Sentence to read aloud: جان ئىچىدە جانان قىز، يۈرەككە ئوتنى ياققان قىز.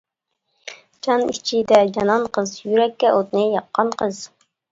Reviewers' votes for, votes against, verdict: 2, 0, accepted